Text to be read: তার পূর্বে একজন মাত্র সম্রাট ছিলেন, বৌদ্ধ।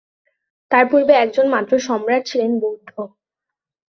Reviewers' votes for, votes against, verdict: 4, 3, accepted